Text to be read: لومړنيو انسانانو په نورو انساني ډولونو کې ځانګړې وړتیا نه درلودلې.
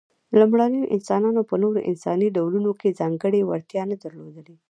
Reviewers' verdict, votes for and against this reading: rejected, 1, 2